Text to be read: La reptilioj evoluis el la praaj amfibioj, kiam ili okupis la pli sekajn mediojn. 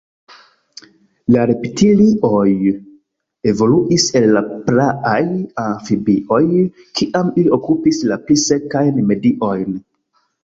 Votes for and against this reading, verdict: 1, 2, rejected